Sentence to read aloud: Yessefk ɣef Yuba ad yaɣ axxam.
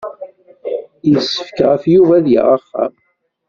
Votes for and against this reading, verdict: 0, 2, rejected